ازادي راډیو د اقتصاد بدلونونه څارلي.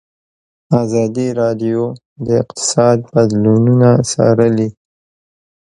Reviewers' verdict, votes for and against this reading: accepted, 2, 0